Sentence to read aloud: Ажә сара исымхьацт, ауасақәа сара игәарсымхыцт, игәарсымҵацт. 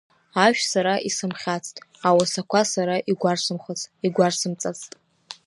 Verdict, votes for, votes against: rejected, 0, 2